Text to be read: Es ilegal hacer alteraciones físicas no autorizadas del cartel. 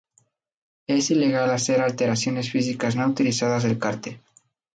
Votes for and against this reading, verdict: 0, 2, rejected